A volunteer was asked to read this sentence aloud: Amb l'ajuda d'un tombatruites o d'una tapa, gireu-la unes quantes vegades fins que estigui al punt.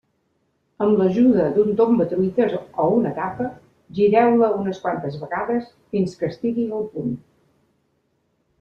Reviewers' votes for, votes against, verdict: 1, 2, rejected